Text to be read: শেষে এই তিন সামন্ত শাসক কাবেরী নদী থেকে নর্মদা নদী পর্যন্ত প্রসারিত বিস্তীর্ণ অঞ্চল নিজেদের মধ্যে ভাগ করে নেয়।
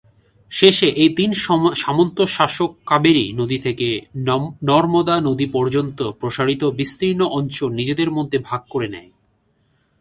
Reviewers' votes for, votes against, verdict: 1, 2, rejected